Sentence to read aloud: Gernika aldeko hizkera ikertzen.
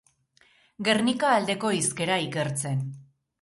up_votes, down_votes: 2, 0